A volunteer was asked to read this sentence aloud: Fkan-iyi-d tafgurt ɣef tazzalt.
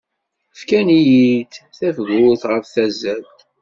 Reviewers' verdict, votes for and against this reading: rejected, 0, 2